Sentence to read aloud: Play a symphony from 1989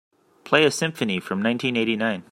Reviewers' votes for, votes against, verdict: 0, 2, rejected